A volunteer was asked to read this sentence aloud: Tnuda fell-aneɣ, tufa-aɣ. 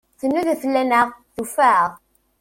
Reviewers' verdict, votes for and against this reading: rejected, 1, 2